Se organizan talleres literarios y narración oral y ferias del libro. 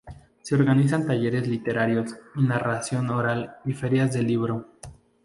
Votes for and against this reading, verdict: 2, 0, accepted